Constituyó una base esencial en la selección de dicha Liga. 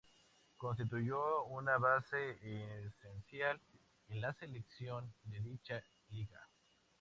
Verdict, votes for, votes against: accepted, 4, 0